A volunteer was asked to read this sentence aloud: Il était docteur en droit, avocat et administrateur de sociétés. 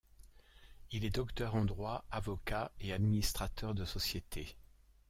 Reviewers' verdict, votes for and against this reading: rejected, 0, 2